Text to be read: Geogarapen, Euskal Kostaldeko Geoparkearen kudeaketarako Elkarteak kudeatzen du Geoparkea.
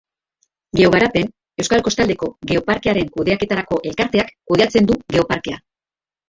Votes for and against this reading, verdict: 2, 1, accepted